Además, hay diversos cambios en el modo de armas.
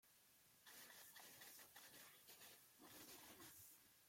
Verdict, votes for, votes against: rejected, 0, 2